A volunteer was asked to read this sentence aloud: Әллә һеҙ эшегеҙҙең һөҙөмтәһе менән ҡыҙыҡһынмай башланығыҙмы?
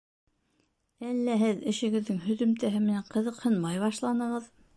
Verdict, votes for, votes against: rejected, 1, 2